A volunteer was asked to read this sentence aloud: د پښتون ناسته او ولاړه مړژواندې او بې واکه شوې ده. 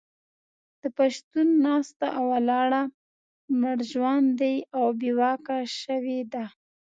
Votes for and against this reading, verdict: 2, 0, accepted